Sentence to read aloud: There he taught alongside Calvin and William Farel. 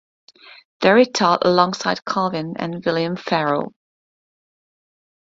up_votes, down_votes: 2, 0